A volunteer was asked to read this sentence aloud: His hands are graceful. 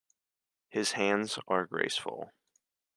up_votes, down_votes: 2, 0